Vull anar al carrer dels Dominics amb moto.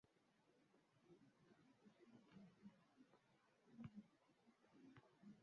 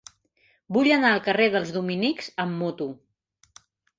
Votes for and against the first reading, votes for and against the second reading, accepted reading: 0, 2, 2, 0, second